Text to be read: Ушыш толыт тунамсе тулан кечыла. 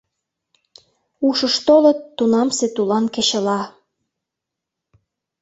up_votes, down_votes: 2, 0